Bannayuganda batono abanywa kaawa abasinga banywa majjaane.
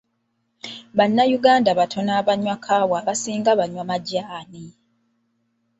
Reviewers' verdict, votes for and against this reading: rejected, 1, 2